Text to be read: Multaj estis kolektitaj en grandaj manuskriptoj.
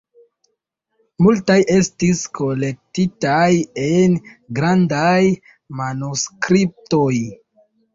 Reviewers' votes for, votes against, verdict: 0, 2, rejected